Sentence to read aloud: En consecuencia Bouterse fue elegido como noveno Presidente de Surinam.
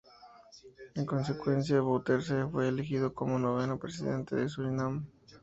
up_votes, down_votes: 2, 0